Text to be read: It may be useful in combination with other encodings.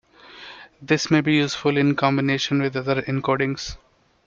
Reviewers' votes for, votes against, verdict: 0, 2, rejected